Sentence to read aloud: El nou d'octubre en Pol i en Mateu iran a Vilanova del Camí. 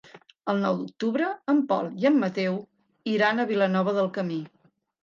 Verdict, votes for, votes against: accepted, 3, 0